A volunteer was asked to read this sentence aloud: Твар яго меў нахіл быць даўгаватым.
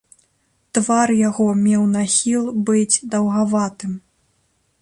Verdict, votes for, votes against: accepted, 2, 0